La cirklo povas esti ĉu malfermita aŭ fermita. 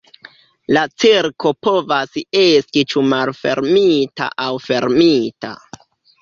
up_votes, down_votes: 0, 2